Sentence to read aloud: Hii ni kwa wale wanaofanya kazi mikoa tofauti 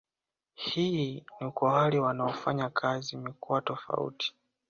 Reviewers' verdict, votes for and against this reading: accepted, 2, 0